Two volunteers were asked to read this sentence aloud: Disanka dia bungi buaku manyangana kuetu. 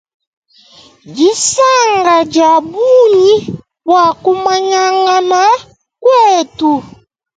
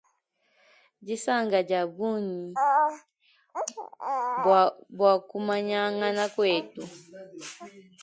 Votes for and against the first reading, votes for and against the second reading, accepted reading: 1, 2, 2, 1, second